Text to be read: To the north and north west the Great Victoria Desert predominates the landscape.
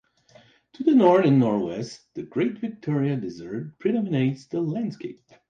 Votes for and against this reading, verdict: 0, 2, rejected